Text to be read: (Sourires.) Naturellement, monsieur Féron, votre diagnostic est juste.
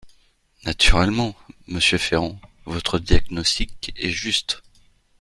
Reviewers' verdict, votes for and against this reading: rejected, 0, 2